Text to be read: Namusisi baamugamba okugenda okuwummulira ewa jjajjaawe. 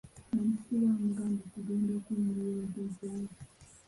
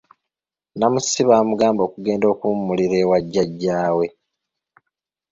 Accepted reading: second